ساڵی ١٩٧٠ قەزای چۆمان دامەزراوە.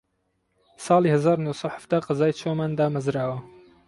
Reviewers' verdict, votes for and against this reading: rejected, 0, 2